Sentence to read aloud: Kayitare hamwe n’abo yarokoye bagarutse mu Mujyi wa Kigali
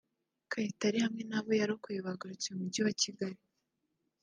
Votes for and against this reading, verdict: 0, 2, rejected